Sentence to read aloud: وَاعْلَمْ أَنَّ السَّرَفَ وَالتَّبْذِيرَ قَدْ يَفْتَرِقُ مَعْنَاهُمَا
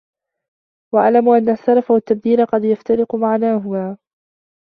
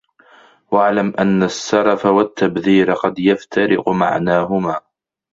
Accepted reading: second